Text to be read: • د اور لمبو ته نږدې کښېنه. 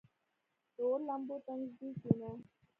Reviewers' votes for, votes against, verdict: 0, 2, rejected